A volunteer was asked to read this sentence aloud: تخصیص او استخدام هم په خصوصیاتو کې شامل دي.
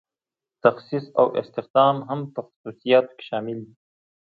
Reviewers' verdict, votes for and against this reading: accepted, 2, 0